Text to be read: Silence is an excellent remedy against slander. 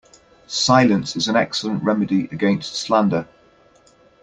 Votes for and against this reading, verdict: 2, 0, accepted